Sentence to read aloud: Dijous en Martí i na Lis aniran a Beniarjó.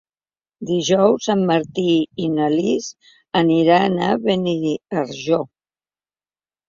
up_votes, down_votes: 1, 3